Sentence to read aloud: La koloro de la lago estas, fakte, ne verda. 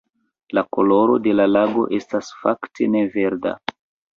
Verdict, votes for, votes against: rejected, 0, 2